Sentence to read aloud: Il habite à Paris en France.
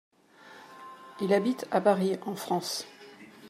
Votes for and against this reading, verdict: 2, 0, accepted